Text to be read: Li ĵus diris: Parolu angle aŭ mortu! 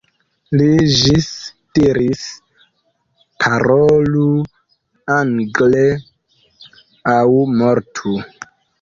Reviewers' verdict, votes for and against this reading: rejected, 0, 2